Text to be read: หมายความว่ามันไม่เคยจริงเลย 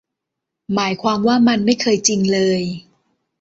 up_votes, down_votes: 2, 0